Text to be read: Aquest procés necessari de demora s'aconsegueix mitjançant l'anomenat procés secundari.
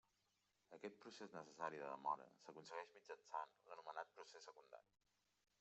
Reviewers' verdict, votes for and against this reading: rejected, 0, 2